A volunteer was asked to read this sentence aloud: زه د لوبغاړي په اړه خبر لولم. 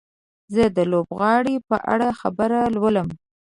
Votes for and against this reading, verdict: 1, 2, rejected